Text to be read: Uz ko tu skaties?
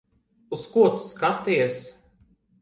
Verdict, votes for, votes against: accepted, 2, 0